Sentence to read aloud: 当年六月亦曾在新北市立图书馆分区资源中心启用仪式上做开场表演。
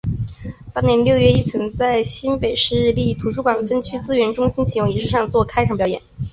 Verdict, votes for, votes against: accepted, 2, 0